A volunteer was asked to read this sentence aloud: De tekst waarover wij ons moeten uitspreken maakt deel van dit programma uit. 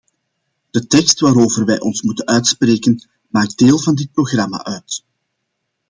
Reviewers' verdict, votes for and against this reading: accepted, 2, 0